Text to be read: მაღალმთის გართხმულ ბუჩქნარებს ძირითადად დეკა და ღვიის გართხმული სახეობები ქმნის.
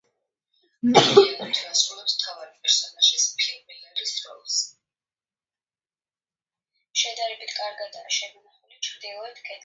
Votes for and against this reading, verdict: 0, 2, rejected